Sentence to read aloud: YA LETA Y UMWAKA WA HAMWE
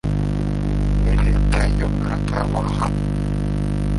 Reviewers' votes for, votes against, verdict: 1, 2, rejected